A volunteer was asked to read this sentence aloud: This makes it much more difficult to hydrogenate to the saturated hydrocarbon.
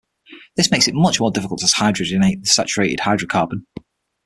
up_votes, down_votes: 0, 6